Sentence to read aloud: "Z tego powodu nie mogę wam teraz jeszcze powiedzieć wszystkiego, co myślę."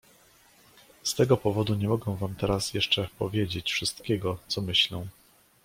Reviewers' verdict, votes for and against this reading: accepted, 2, 0